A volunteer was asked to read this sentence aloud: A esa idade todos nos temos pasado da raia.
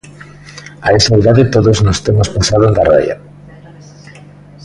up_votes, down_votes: 2, 0